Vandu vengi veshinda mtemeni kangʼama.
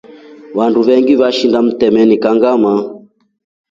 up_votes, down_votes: 2, 0